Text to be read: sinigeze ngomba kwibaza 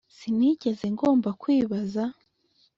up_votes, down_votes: 2, 0